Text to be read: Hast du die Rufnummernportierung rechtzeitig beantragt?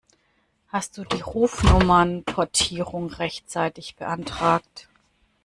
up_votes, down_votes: 2, 0